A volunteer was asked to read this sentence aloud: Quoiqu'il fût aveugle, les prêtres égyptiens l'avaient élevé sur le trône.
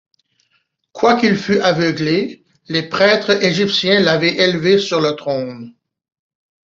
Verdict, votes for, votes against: rejected, 1, 2